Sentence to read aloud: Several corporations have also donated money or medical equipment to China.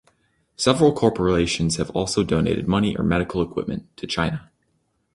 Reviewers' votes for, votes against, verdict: 2, 0, accepted